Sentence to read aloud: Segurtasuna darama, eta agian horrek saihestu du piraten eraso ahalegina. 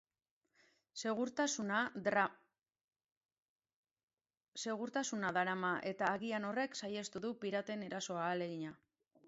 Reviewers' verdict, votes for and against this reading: rejected, 1, 3